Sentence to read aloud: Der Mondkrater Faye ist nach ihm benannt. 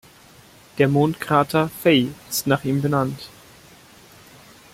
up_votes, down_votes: 2, 0